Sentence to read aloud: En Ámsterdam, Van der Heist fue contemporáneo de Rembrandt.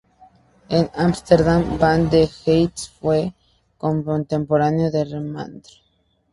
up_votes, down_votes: 2, 0